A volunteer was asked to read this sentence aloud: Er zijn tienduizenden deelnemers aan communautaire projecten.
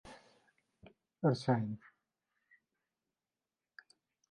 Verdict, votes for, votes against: rejected, 0, 2